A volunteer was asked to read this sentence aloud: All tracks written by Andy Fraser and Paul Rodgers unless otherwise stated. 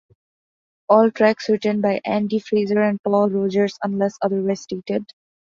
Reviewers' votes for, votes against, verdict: 0, 2, rejected